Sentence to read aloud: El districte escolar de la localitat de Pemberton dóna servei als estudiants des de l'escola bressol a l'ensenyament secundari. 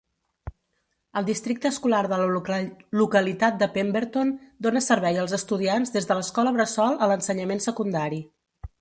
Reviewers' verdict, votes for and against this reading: rejected, 0, 2